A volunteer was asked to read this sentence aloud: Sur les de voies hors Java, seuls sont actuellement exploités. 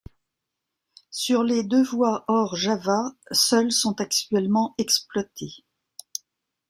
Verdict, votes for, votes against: accepted, 2, 1